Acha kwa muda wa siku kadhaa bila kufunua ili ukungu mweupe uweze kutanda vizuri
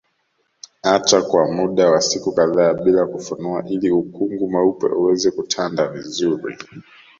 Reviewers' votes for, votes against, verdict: 2, 0, accepted